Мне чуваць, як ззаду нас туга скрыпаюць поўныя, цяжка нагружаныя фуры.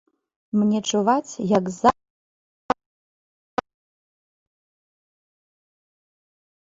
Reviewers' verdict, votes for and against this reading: rejected, 0, 2